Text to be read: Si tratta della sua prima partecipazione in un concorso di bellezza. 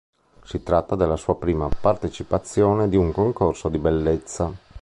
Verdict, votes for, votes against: rejected, 2, 4